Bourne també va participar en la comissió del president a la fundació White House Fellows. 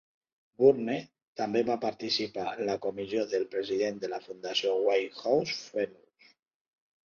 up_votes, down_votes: 1, 2